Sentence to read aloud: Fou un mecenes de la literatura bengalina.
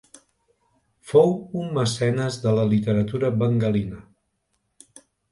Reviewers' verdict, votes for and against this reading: accepted, 3, 0